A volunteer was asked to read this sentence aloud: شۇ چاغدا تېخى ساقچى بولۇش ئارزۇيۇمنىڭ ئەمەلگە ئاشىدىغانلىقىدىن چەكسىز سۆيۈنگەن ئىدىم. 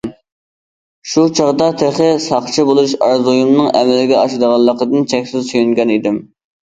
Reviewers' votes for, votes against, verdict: 2, 0, accepted